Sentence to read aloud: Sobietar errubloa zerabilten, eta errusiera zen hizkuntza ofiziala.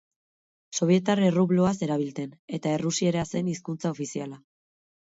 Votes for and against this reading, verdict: 6, 0, accepted